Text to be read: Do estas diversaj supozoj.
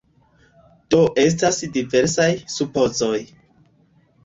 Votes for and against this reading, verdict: 2, 0, accepted